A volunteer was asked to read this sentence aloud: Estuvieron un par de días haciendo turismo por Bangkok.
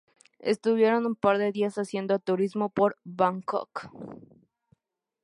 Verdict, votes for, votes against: accepted, 2, 0